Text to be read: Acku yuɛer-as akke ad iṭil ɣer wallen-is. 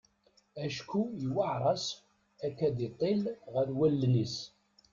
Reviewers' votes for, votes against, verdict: 0, 2, rejected